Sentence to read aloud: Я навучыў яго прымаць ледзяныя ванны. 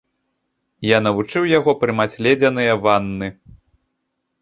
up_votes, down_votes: 1, 2